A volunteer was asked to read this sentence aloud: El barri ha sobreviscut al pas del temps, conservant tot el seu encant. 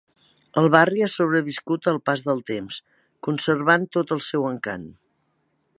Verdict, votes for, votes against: accepted, 4, 0